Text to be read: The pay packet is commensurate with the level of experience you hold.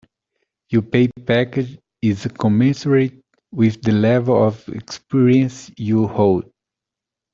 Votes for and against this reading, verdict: 0, 2, rejected